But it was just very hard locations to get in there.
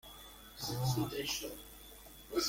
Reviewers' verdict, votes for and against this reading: rejected, 0, 2